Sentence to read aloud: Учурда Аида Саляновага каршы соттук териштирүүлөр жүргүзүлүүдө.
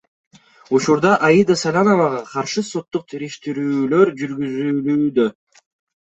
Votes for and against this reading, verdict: 2, 0, accepted